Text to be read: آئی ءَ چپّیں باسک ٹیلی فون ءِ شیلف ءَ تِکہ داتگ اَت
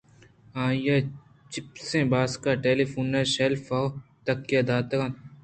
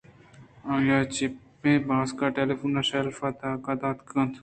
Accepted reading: first